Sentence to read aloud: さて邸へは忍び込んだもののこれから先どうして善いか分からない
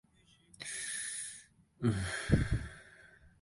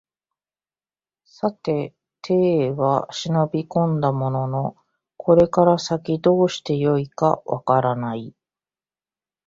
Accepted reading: second